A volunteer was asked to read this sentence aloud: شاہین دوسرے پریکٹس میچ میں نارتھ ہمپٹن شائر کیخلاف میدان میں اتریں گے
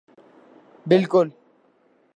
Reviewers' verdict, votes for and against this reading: rejected, 0, 2